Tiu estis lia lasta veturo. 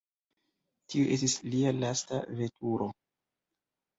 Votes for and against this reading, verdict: 2, 1, accepted